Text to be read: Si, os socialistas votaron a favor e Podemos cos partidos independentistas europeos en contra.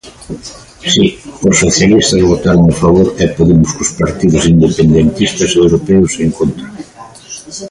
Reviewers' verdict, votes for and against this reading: rejected, 0, 2